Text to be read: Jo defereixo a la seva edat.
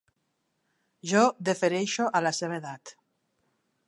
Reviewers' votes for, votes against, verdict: 2, 0, accepted